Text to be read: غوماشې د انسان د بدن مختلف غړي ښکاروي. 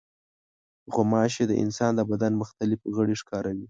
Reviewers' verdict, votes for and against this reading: accepted, 2, 0